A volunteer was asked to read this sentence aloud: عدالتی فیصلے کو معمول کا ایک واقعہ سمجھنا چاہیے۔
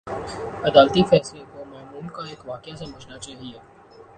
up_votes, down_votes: 2, 0